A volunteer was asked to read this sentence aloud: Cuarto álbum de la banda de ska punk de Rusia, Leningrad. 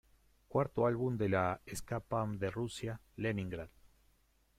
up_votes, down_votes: 0, 2